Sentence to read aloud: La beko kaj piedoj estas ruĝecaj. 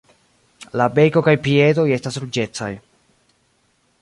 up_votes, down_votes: 0, 2